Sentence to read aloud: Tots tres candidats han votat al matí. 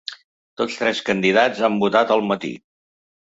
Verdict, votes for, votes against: accepted, 2, 0